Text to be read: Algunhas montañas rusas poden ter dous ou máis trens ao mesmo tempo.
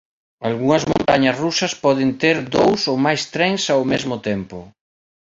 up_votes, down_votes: 1, 3